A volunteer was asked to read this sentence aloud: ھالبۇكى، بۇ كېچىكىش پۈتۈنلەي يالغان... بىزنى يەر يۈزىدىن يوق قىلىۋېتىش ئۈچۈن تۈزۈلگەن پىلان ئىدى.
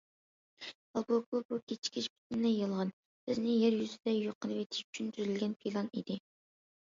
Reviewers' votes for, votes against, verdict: 0, 2, rejected